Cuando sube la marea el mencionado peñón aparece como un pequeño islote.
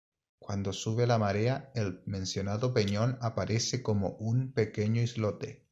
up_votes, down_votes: 1, 2